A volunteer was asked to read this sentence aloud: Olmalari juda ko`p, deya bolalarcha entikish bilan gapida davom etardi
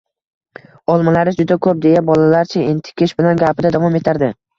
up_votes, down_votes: 2, 0